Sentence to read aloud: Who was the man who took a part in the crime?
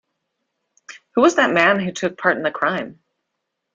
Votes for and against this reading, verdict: 2, 0, accepted